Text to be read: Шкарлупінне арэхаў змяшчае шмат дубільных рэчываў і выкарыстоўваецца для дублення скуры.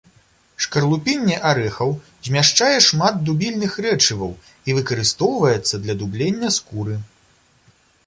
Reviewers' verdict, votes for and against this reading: accepted, 2, 0